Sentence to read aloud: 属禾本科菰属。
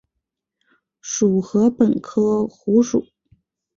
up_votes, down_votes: 3, 0